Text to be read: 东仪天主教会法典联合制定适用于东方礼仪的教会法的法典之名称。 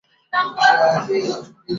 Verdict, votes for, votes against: rejected, 0, 2